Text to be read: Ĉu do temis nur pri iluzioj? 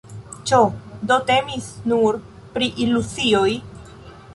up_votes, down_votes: 0, 2